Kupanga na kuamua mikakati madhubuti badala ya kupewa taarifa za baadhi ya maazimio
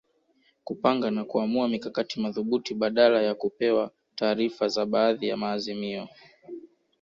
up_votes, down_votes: 2, 1